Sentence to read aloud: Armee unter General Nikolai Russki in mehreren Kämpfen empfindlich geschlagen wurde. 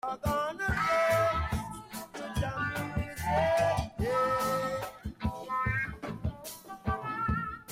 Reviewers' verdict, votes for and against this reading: rejected, 0, 2